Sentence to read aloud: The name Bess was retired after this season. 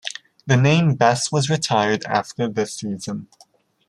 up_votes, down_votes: 2, 0